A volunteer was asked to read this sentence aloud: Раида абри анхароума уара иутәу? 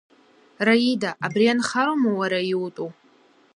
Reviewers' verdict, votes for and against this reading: accepted, 2, 0